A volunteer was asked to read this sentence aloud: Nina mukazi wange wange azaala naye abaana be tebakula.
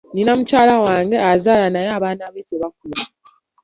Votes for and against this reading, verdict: 2, 0, accepted